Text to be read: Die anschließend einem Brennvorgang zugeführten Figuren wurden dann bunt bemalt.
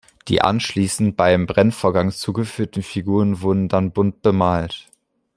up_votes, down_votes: 1, 2